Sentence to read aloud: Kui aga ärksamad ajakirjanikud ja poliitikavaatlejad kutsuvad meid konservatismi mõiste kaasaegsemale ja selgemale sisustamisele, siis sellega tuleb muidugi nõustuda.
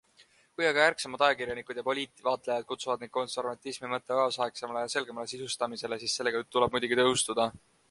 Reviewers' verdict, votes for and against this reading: accepted, 2, 0